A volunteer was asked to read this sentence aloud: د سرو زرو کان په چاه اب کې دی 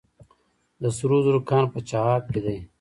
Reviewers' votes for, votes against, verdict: 1, 2, rejected